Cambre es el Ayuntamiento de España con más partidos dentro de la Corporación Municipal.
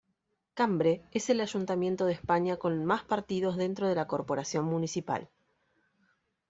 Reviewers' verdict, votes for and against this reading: accepted, 2, 1